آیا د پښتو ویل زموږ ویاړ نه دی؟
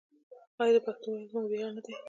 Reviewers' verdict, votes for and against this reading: rejected, 0, 2